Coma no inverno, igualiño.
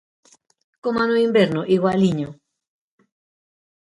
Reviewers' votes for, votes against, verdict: 2, 0, accepted